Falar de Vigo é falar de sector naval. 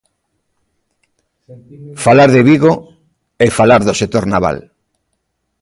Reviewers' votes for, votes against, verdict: 0, 2, rejected